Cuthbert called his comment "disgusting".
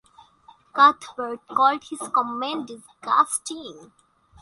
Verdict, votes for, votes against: accepted, 2, 0